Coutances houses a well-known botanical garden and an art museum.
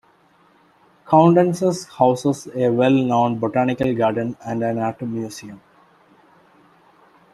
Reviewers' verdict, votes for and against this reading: accepted, 2, 0